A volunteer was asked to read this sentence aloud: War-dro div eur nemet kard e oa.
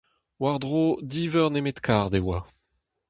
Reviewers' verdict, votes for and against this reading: accepted, 2, 0